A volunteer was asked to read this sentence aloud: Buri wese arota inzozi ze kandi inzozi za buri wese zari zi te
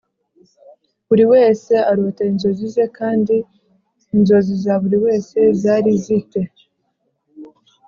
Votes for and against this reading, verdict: 4, 0, accepted